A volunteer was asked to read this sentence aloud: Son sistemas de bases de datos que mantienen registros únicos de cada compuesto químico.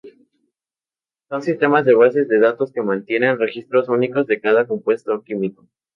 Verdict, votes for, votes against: accepted, 2, 0